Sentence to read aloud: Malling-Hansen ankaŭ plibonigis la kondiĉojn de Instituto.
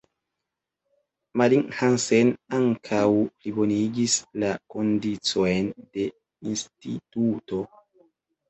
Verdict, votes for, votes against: accepted, 2, 0